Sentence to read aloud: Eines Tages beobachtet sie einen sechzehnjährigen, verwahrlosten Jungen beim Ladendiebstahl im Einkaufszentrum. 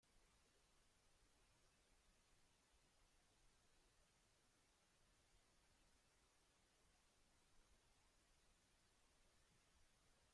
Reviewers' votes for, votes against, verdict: 0, 2, rejected